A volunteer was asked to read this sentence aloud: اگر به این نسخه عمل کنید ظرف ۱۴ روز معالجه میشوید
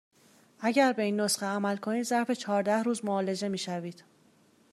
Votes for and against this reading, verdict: 0, 2, rejected